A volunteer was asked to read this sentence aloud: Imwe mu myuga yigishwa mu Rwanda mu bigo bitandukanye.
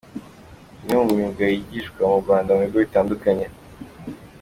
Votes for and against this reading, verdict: 2, 1, accepted